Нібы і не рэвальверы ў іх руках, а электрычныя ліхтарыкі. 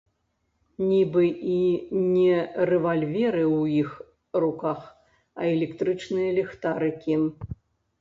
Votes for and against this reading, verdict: 1, 2, rejected